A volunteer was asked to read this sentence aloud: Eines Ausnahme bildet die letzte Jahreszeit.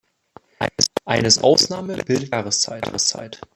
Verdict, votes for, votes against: rejected, 0, 2